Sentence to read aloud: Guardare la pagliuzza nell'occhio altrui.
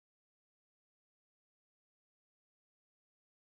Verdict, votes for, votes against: rejected, 0, 2